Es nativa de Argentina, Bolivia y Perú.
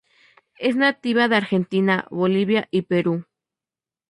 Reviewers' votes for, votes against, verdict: 2, 0, accepted